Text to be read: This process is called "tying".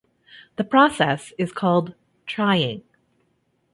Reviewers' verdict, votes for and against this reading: rejected, 1, 2